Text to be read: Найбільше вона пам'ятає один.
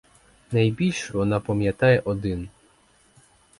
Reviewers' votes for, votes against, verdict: 4, 0, accepted